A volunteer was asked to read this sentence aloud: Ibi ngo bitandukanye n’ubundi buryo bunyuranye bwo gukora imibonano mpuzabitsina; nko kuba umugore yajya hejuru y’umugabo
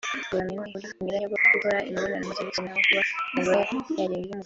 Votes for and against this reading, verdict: 0, 2, rejected